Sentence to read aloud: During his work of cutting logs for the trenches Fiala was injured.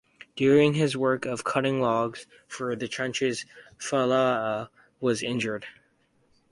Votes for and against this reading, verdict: 0, 2, rejected